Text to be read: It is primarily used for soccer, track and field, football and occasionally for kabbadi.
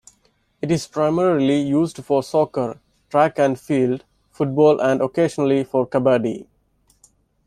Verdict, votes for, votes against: accepted, 2, 0